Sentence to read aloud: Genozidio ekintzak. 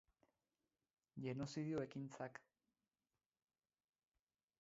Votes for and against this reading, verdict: 0, 6, rejected